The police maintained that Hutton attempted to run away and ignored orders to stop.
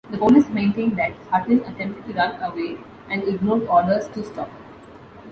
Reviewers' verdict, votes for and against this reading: accepted, 3, 1